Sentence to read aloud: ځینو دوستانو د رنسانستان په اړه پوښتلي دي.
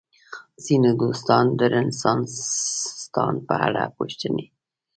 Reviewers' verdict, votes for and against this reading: accepted, 2, 0